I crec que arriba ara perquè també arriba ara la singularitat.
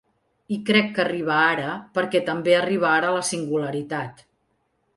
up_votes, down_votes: 2, 0